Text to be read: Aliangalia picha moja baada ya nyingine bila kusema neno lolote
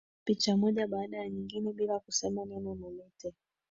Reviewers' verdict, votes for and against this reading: rejected, 1, 2